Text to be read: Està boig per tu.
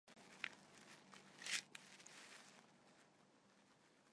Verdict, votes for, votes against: rejected, 0, 2